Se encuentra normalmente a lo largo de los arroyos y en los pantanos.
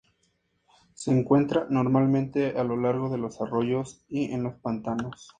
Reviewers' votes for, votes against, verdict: 2, 0, accepted